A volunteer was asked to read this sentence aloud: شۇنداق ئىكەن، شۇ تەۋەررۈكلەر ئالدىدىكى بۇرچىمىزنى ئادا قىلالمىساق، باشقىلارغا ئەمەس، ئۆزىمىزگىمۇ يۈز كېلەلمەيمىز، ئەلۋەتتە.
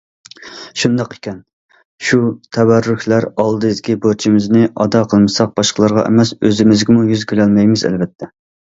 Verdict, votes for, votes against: rejected, 0, 2